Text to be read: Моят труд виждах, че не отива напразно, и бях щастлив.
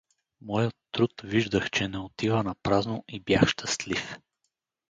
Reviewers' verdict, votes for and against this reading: rejected, 2, 2